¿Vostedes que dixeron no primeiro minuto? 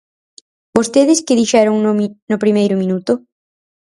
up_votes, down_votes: 0, 4